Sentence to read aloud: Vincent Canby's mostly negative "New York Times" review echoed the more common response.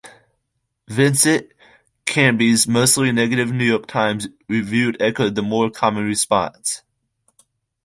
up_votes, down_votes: 2, 0